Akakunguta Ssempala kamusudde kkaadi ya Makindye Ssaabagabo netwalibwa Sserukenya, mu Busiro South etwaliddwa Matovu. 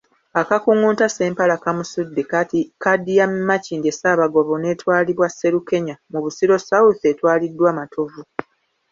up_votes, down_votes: 1, 2